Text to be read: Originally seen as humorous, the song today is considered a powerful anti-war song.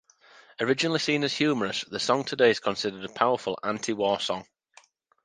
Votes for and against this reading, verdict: 2, 0, accepted